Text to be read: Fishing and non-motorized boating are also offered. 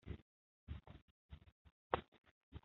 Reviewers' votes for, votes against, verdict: 0, 2, rejected